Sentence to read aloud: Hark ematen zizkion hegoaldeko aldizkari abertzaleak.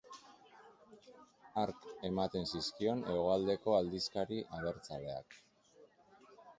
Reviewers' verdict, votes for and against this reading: accepted, 3, 0